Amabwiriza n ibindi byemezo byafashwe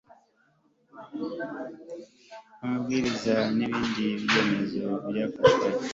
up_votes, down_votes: 1, 2